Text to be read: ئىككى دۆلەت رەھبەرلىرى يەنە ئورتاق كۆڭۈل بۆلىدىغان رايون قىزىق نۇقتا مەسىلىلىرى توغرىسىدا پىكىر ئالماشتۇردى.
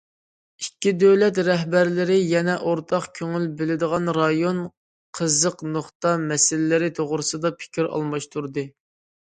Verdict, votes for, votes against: accepted, 2, 0